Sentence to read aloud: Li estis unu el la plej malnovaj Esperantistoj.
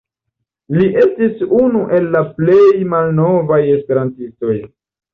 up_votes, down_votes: 2, 0